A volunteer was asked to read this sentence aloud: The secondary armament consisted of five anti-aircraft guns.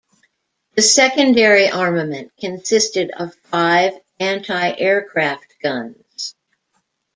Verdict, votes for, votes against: accepted, 2, 0